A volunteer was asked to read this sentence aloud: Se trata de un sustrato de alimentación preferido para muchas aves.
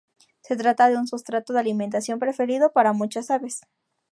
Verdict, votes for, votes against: accepted, 2, 0